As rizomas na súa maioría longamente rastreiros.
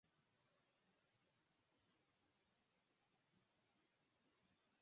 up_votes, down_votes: 0, 4